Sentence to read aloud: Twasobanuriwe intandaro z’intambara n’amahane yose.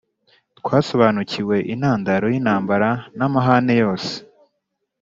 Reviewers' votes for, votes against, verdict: 1, 2, rejected